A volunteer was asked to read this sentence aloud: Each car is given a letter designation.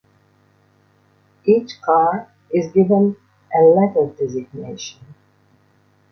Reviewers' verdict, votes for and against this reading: rejected, 1, 2